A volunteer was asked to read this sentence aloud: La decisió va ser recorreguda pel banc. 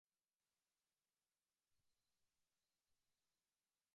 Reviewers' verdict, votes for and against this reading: rejected, 0, 2